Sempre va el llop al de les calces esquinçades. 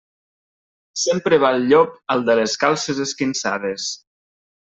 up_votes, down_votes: 2, 0